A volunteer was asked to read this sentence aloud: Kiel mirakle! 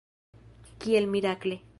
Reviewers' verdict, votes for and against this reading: rejected, 1, 2